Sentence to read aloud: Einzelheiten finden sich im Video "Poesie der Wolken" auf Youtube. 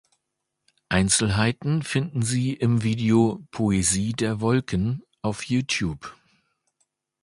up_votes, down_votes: 0, 2